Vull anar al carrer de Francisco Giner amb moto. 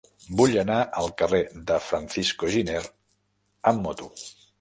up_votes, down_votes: 1, 2